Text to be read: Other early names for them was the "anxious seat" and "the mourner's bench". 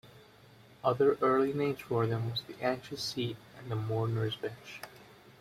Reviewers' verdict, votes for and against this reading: rejected, 1, 2